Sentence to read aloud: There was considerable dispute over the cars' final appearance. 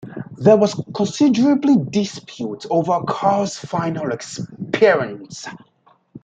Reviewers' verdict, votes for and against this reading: rejected, 0, 2